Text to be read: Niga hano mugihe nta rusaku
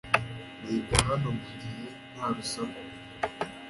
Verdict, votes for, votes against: rejected, 0, 2